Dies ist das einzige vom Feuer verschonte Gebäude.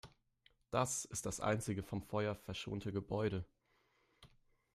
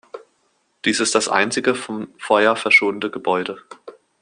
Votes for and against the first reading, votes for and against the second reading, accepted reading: 0, 4, 2, 0, second